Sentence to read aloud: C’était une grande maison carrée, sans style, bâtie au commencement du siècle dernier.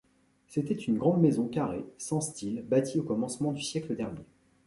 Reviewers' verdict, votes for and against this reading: accepted, 2, 0